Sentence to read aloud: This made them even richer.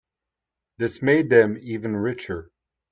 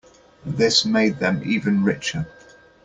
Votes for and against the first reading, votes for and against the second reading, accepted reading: 1, 2, 2, 1, second